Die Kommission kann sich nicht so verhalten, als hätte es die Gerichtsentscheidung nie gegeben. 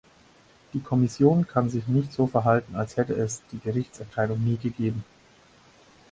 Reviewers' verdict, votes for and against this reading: accepted, 4, 0